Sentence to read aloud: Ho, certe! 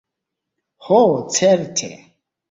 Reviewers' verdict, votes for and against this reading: accepted, 2, 0